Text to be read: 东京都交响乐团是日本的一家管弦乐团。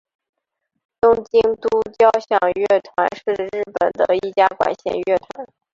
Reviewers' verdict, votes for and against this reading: accepted, 4, 2